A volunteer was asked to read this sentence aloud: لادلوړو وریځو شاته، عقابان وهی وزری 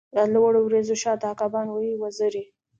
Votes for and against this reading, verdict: 2, 1, accepted